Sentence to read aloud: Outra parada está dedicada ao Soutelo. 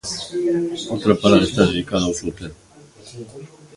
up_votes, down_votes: 1, 3